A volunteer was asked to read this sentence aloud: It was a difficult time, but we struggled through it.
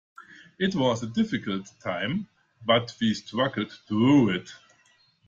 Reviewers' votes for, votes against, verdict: 2, 0, accepted